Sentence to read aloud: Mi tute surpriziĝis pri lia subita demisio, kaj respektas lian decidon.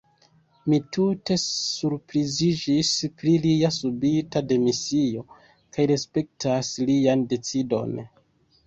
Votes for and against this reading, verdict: 4, 2, accepted